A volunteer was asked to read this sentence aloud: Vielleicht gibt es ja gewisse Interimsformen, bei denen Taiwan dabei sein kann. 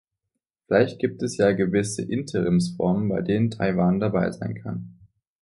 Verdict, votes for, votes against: accepted, 2, 0